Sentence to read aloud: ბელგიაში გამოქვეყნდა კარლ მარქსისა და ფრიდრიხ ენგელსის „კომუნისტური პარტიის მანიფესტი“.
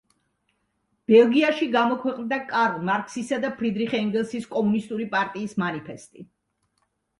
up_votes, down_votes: 2, 0